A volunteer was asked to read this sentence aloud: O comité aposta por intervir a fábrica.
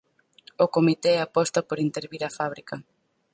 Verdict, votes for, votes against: accepted, 4, 0